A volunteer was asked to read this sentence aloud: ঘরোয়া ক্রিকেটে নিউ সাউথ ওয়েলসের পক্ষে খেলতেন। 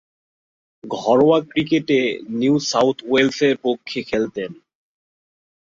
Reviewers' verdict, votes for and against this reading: accepted, 5, 0